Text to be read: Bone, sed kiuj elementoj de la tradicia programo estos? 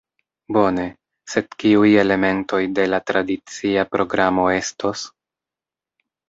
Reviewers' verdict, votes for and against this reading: accepted, 2, 0